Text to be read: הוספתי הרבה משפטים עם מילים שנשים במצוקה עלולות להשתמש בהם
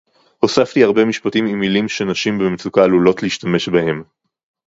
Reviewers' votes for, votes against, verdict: 2, 0, accepted